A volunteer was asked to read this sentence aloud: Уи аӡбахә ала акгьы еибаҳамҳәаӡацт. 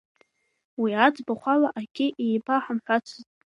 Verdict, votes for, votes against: rejected, 1, 3